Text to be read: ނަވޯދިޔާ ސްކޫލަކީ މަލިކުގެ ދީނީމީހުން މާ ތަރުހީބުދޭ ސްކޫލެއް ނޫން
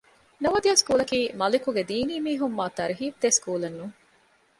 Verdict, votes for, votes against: accepted, 2, 0